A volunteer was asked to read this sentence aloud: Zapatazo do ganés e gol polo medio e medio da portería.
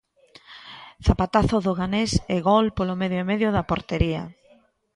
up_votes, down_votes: 2, 0